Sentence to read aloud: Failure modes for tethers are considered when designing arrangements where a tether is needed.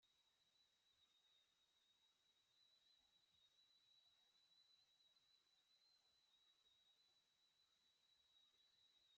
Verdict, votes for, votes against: rejected, 0, 2